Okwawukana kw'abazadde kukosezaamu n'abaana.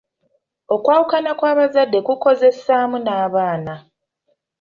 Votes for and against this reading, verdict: 0, 2, rejected